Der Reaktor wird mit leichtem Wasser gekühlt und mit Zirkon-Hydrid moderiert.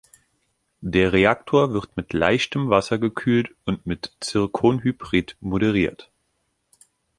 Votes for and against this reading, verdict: 2, 3, rejected